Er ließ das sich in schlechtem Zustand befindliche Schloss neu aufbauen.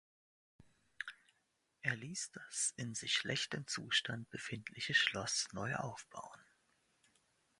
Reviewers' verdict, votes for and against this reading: rejected, 0, 2